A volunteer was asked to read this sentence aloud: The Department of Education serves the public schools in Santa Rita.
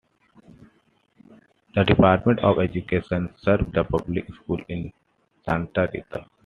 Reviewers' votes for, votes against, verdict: 2, 0, accepted